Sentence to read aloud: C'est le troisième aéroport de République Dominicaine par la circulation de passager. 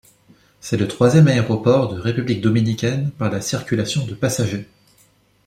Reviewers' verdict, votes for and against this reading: accepted, 2, 0